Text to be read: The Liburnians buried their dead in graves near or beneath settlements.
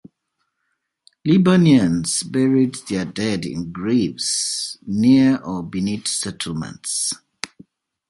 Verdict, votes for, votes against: rejected, 1, 2